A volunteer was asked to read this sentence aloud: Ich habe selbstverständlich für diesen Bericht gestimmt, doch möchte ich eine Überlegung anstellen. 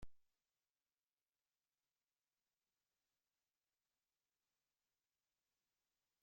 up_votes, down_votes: 0, 2